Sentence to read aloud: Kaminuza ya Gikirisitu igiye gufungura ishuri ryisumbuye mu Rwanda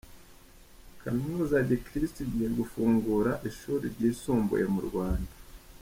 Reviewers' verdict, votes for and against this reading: accepted, 2, 0